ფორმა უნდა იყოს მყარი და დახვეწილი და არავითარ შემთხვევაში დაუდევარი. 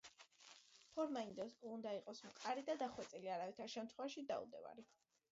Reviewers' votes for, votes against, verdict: 0, 2, rejected